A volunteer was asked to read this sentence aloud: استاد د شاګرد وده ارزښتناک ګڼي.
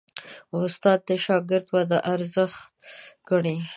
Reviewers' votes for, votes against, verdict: 0, 2, rejected